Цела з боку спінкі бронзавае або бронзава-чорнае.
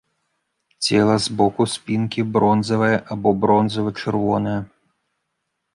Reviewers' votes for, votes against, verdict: 1, 2, rejected